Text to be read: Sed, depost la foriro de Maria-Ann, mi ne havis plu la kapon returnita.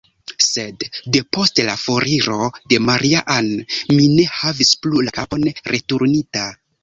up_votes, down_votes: 1, 2